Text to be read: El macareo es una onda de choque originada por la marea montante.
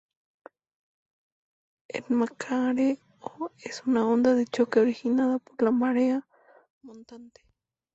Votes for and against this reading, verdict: 2, 0, accepted